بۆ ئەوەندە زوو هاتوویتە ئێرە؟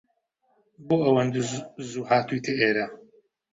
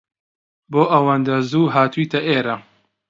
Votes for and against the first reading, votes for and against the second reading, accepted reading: 0, 2, 2, 0, second